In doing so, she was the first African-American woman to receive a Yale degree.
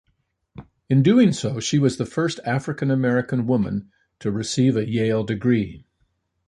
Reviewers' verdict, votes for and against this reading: accepted, 2, 0